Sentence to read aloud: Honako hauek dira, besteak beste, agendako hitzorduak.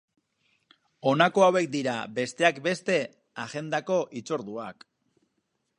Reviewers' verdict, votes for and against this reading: accepted, 4, 0